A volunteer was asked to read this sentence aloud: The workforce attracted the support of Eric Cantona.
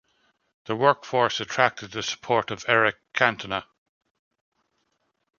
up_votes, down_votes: 2, 0